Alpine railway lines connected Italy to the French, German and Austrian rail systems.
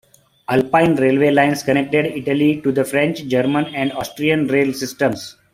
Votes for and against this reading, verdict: 2, 1, accepted